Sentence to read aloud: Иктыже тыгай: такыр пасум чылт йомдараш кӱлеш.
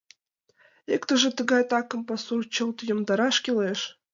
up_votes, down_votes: 2, 1